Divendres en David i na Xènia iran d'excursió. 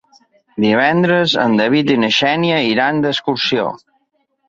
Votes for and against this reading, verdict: 3, 0, accepted